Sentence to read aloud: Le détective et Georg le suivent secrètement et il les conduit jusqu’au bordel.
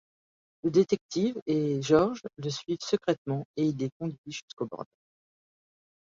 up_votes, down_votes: 1, 2